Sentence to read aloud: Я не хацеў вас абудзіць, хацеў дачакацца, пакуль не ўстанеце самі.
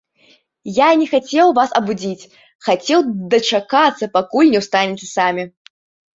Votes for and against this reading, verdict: 0, 2, rejected